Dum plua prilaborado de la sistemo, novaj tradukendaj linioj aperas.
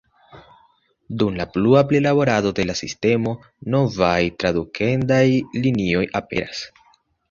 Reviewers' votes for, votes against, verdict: 0, 2, rejected